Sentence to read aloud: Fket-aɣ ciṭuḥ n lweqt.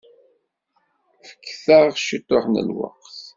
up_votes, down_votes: 2, 0